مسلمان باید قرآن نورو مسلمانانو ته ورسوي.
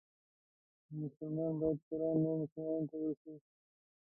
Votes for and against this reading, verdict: 1, 2, rejected